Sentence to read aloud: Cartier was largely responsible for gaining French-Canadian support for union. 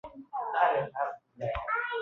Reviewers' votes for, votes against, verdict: 0, 2, rejected